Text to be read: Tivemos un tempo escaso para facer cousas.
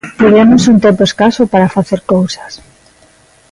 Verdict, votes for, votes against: accepted, 2, 0